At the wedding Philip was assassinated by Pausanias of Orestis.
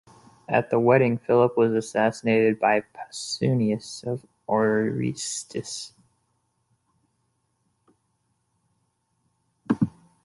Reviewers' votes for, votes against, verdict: 0, 2, rejected